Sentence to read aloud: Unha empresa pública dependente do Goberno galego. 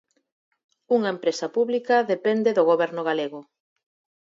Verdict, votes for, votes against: rejected, 0, 4